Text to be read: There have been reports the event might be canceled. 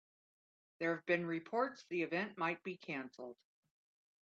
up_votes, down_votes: 3, 0